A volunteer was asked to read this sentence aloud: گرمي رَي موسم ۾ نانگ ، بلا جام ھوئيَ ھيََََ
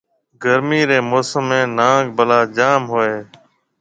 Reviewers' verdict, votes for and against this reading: accepted, 2, 0